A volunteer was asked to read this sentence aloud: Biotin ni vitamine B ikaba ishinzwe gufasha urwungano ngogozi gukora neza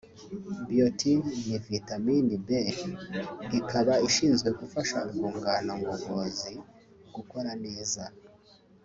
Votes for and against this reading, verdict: 2, 0, accepted